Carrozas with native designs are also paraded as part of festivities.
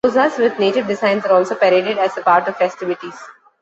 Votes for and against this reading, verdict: 0, 2, rejected